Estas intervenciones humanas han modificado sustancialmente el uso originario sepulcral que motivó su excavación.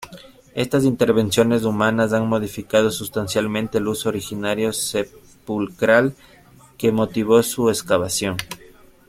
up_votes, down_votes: 1, 2